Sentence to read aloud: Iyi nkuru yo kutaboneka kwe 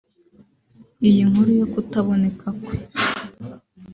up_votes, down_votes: 2, 0